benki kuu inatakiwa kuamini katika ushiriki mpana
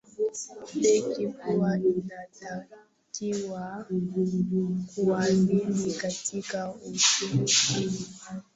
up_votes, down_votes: 0, 2